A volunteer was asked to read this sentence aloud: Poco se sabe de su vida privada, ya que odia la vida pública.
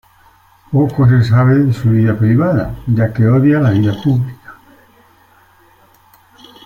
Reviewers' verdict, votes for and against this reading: accepted, 2, 0